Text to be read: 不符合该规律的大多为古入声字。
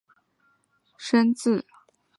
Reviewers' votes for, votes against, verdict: 0, 3, rejected